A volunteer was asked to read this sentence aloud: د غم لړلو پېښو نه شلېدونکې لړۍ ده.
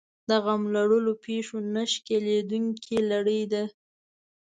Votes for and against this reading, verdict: 1, 2, rejected